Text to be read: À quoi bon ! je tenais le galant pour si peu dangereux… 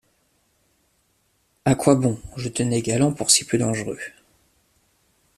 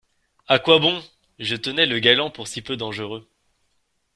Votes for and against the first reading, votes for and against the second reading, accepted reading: 0, 2, 2, 0, second